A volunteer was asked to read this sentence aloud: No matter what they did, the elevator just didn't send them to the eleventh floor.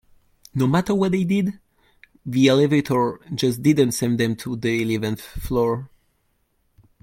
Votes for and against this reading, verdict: 2, 1, accepted